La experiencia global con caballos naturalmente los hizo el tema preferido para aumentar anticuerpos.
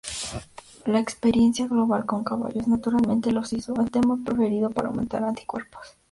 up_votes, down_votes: 0, 2